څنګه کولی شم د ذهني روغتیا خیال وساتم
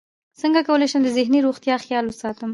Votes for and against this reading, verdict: 1, 2, rejected